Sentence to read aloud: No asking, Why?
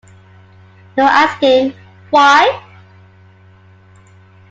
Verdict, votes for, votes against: accepted, 2, 1